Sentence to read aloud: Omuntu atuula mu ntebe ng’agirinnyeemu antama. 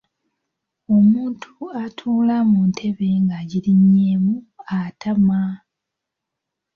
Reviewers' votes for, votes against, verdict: 0, 2, rejected